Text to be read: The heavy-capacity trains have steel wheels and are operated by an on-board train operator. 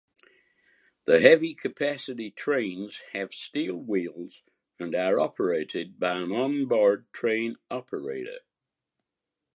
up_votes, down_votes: 2, 1